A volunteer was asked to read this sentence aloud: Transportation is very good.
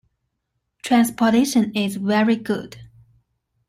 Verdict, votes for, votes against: accepted, 2, 0